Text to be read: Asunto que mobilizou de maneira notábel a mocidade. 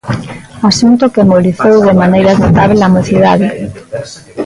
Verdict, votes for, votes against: rejected, 0, 2